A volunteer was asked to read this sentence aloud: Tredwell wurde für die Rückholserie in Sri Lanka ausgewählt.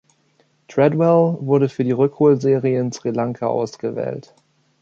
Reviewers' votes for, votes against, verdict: 2, 0, accepted